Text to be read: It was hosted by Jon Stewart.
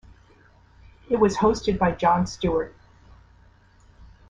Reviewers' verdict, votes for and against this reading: rejected, 1, 2